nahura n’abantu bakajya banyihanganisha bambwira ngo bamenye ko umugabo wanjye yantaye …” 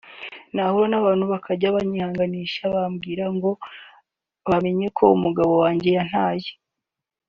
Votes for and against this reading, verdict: 2, 0, accepted